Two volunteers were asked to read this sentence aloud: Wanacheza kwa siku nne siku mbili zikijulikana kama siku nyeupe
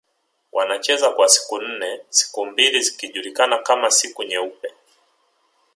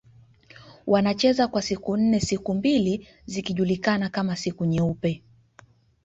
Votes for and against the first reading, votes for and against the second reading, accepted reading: 1, 2, 3, 1, second